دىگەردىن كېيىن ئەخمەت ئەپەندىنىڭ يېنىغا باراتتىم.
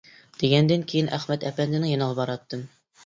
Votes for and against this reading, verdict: 0, 2, rejected